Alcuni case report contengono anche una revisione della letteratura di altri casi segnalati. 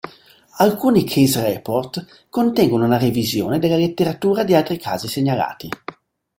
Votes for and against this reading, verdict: 1, 2, rejected